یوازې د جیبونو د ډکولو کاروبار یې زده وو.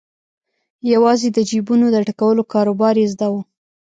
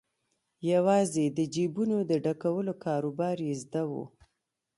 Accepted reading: second